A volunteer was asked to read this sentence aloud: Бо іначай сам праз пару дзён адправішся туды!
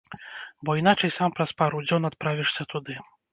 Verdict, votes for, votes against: rejected, 1, 2